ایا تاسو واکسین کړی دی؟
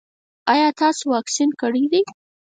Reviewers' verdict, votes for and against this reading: rejected, 0, 4